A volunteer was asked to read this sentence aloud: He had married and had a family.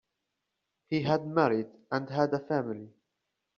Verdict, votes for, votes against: accepted, 2, 0